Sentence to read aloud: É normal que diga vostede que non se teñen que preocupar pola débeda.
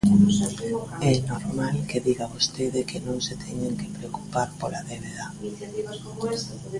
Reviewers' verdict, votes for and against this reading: rejected, 0, 2